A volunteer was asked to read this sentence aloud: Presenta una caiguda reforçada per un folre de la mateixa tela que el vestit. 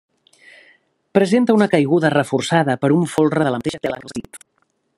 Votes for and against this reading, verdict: 0, 2, rejected